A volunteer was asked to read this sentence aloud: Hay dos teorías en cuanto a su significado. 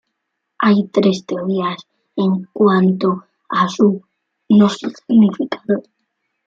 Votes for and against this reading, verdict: 1, 2, rejected